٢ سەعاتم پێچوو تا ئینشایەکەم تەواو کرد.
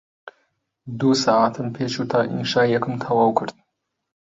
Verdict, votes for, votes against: rejected, 0, 2